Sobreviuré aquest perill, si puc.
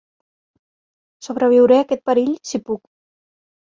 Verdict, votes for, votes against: accepted, 3, 0